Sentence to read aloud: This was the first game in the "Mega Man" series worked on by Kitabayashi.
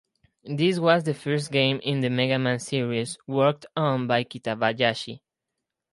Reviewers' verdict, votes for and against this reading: accepted, 4, 0